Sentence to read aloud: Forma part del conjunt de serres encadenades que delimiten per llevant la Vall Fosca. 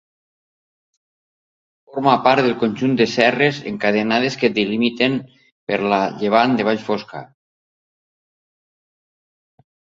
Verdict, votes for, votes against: rejected, 1, 2